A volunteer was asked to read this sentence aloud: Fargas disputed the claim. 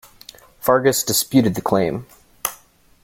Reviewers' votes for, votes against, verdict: 2, 0, accepted